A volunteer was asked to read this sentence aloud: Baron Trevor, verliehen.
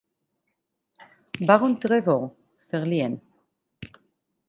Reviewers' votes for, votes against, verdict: 4, 0, accepted